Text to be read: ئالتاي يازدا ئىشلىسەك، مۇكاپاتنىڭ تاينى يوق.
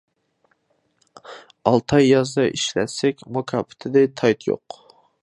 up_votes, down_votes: 0, 2